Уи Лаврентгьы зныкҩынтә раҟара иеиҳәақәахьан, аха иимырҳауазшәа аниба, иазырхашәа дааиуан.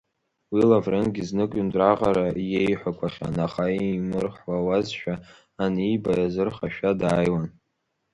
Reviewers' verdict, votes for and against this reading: rejected, 1, 2